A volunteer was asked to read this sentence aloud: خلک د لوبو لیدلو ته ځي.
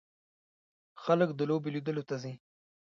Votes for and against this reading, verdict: 0, 2, rejected